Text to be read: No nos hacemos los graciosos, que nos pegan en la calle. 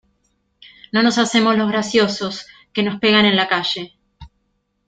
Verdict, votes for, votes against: accepted, 2, 0